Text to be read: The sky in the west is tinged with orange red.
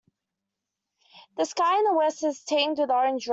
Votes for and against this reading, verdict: 2, 1, accepted